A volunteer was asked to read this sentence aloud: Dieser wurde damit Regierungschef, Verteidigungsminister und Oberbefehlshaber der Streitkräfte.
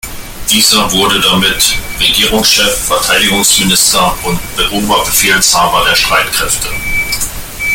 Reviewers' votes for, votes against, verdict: 1, 2, rejected